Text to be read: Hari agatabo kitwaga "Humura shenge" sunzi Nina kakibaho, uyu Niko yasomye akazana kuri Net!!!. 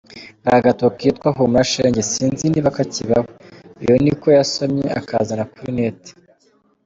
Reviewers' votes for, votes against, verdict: 1, 2, rejected